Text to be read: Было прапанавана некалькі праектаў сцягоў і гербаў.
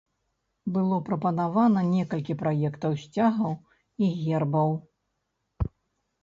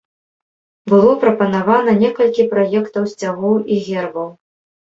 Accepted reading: second